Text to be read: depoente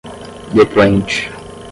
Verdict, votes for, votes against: rejected, 5, 5